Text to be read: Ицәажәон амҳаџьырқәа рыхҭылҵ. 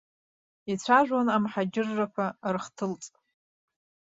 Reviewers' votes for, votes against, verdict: 1, 2, rejected